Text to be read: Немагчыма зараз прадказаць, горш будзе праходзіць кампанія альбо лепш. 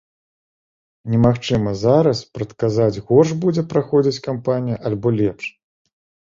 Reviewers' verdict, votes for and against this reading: accepted, 2, 0